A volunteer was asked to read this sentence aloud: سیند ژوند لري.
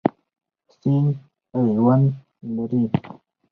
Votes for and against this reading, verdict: 4, 0, accepted